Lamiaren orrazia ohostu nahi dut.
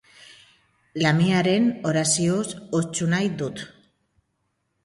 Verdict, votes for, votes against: rejected, 0, 3